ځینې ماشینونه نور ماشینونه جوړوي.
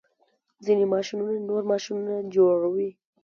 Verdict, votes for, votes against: accepted, 2, 0